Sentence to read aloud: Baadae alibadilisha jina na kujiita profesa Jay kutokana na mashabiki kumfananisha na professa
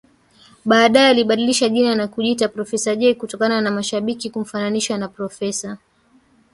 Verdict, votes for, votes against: rejected, 1, 3